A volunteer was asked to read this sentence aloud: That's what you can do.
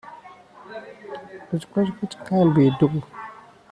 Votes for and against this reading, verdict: 0, 2, rejected